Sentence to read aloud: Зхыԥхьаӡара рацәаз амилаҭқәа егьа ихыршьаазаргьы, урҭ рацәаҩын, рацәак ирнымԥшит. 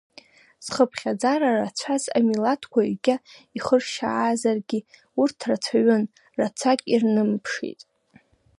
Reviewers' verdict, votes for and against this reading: accepted, 2, 0